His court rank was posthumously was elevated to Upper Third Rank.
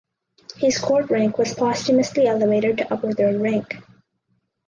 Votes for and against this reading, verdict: 2, 4, rejected